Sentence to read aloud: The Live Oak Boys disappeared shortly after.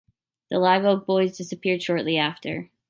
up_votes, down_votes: 2, 0